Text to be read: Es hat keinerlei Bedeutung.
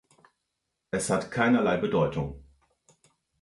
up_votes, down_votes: 2, 0